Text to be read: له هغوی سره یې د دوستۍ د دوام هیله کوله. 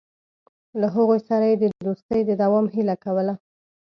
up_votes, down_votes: 1, 2